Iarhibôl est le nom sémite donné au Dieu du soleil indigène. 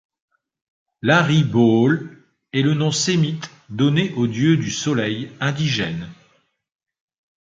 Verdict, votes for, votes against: rejected, 1, 2